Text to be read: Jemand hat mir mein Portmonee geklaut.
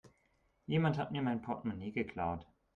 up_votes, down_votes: 2, 0